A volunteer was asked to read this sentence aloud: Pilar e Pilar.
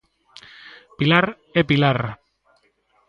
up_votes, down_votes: 2, 0